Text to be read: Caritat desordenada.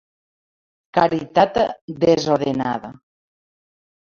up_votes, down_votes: 1, 2